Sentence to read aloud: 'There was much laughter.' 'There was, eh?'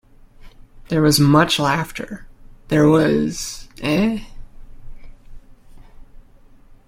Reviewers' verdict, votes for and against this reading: accepted, 2, 0